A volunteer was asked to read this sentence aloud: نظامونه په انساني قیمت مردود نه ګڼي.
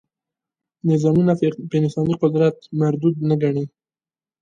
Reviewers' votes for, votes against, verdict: 2, 0, accepted